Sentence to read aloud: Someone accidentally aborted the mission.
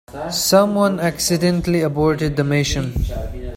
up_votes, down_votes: 2, 1